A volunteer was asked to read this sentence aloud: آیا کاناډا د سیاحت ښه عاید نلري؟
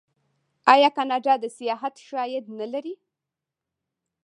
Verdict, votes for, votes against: rejected, 1, 2